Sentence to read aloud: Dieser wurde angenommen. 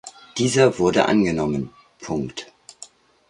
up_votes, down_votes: 0, 2